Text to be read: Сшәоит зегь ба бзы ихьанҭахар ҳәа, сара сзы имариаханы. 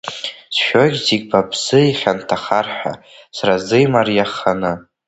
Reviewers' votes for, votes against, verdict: 2, 1, accepted